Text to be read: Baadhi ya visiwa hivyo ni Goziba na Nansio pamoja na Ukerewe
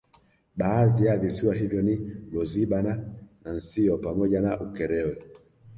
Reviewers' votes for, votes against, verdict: 2, 1, accepted